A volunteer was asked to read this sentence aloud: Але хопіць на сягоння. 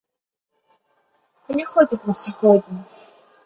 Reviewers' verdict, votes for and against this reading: accepted, 3, 1